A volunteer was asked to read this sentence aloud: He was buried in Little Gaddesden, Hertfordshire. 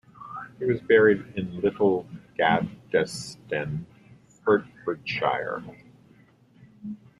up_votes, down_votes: 0, 2